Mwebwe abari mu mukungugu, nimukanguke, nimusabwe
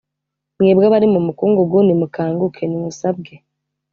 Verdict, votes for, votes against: accepted, 2, 0